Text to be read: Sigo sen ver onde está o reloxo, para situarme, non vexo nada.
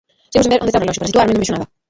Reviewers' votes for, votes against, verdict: 0, 2, rejected